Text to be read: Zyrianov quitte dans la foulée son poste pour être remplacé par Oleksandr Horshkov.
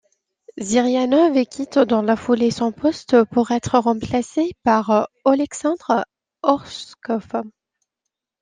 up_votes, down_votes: 0, 2